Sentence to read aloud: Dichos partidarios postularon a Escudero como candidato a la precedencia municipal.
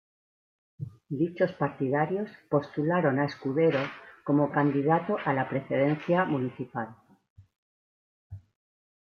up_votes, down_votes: 1, 2